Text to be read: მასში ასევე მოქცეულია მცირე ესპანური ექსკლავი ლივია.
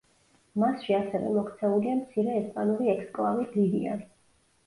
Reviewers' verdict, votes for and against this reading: rejected, 1, 2